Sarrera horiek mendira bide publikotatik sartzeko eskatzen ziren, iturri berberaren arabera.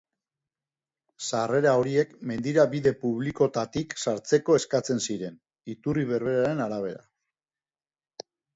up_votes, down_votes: 3, 0